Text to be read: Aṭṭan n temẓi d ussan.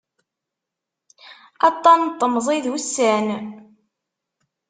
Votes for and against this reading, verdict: 2, 0, accepted